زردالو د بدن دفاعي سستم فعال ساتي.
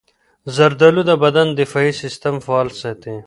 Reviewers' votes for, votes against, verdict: 2, 0, accepted